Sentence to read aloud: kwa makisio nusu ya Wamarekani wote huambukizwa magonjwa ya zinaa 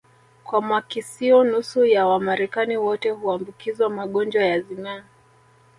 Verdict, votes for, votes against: rejected, 1, 2